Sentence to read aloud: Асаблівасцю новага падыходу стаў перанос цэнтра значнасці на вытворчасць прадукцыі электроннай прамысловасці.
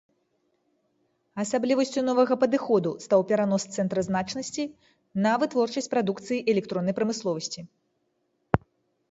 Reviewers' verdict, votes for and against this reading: accepted, 2, 0